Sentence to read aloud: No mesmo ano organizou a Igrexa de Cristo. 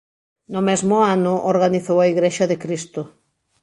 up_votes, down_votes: 2, 0